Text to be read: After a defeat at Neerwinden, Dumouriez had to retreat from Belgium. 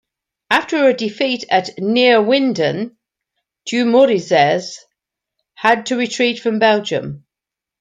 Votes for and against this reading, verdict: 1, 2, rejected